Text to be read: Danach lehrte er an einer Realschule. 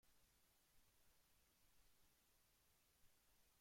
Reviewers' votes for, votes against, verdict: 0, 2, rejected